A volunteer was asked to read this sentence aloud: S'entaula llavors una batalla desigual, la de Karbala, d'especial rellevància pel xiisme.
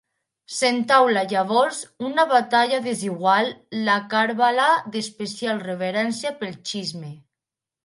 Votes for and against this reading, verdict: 0, 2, rejected